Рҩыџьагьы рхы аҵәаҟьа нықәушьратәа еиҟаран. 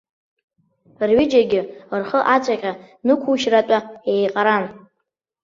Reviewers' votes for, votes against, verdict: 0, 2, rejected